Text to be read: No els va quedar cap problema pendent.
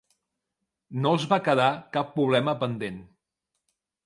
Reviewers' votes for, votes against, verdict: 1, 2, rejected